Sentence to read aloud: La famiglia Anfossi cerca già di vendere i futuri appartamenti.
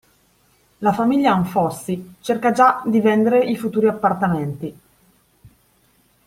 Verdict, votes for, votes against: accepted, 2, 0